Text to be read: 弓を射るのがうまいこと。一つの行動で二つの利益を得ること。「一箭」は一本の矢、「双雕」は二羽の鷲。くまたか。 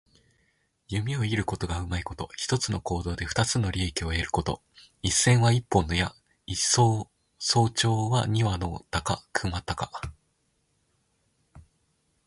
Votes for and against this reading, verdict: 0, 2, rejected